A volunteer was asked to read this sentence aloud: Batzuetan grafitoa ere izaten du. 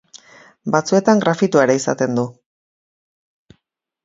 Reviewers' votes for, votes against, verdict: 2, 0, accepted